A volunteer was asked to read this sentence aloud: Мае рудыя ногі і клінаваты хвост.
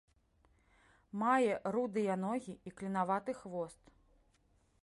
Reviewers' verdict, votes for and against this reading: rejected, 1, 2